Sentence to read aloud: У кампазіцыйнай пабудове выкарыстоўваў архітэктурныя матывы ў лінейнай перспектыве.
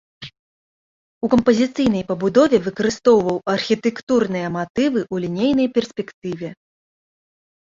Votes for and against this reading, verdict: 1, 2, rejected